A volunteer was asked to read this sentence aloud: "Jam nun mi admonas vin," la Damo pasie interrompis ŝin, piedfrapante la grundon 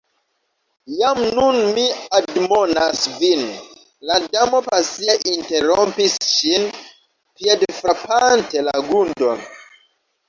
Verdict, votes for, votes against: accepted, 2, 0